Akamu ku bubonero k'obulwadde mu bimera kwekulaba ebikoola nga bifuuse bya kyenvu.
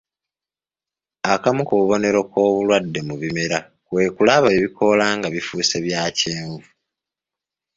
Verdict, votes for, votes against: accepted, 2, 0